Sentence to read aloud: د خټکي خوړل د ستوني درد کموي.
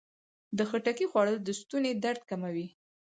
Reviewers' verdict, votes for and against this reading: rejected, 2, 4